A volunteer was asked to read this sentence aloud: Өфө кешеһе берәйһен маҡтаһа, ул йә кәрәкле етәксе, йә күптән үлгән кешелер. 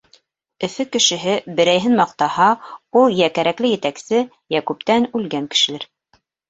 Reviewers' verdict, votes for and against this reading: accepted, 2, 0